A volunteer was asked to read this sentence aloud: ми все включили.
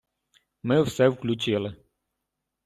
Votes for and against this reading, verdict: 2, 0, accepted